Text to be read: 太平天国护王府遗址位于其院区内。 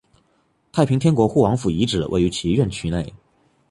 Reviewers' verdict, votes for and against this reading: accepted, 2, 0